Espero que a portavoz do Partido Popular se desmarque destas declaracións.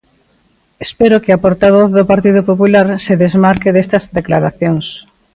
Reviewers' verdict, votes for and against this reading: accepted, 2, 1